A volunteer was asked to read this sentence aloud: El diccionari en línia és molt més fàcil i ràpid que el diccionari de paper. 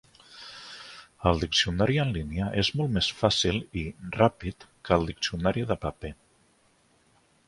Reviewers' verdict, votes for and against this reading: accepted, 4, 0